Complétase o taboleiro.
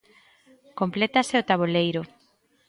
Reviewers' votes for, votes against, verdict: 2, 0, accepted